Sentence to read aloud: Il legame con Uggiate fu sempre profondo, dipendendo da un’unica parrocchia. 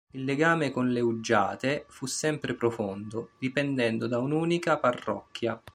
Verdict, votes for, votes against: rejected, 2, 3